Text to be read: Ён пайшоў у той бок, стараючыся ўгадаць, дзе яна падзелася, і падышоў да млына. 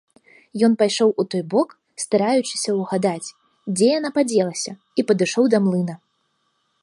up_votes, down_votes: 2, 0